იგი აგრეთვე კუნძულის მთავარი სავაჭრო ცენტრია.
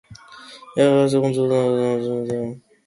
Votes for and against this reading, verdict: 0, 2, rejected